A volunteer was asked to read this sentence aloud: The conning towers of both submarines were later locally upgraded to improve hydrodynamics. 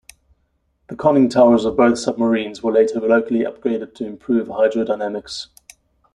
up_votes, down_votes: 2, 0